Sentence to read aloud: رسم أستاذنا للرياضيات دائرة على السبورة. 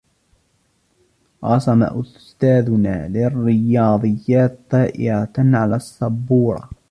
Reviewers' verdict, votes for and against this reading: rejected, 1, 2